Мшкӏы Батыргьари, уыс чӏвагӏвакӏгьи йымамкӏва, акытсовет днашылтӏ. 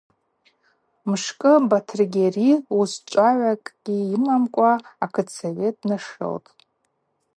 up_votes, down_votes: 2, 0